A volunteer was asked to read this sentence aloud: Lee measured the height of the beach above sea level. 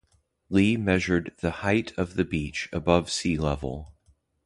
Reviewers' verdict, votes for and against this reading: accepted, 2, 0